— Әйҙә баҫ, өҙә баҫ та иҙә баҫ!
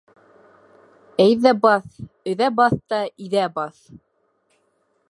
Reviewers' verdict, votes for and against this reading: accepted, 2, 0